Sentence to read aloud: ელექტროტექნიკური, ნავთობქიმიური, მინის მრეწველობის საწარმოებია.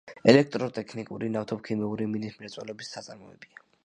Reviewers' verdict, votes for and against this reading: accepted, 2, 0